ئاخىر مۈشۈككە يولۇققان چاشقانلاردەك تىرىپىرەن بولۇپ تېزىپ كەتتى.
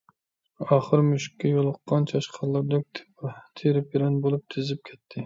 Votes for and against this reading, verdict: 0, 2, rejected